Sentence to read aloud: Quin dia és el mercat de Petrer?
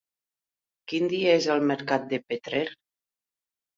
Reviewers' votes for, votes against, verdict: 3, 0, accepted